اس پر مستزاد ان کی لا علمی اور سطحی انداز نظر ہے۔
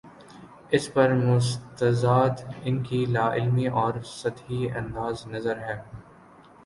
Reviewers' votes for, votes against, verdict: 2, 0, accepted